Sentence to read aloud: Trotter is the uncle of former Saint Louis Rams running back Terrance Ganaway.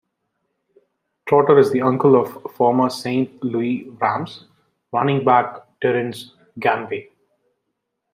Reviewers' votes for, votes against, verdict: 1, 2, rejected